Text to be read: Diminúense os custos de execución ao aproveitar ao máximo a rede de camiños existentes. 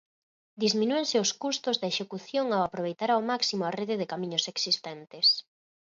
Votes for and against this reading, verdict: 0, 4, rejected